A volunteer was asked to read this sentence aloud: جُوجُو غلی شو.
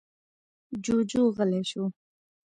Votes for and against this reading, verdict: 2, 1, accepted